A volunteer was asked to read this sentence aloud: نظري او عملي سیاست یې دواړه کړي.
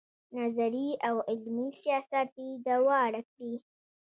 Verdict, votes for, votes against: accepted, 2, 0